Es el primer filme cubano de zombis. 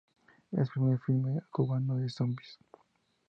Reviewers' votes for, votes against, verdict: 4, 2, accepted